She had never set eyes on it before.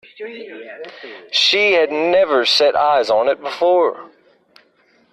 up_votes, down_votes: 1, 2